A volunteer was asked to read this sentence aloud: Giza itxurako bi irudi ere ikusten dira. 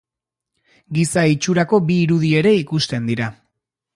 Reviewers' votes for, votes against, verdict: 4, 0, accepted